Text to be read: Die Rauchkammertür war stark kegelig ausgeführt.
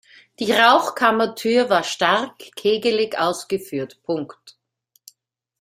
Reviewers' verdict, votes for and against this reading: rejected, 0, 2